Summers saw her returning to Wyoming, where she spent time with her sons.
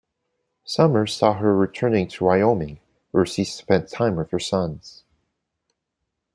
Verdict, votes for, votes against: accepted, 2, 0